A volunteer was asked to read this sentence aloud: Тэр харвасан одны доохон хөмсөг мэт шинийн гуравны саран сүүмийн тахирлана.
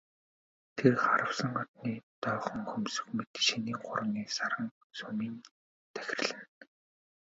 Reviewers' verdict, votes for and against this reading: accepted, 2, 1